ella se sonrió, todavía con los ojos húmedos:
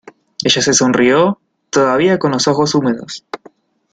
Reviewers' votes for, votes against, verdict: 2, 0, accepted